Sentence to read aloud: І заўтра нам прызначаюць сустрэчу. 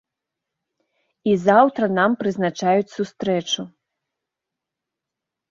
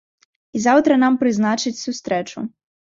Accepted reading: first